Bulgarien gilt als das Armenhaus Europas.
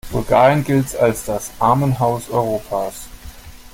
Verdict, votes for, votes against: accepted, 2, 1